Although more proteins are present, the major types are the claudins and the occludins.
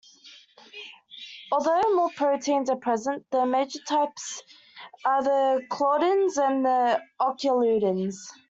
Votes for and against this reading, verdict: 2, 1, accepted